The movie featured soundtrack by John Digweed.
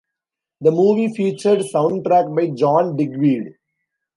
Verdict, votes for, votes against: accepted, 2, 1